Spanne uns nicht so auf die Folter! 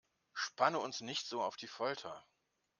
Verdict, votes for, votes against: accepted, 2, 0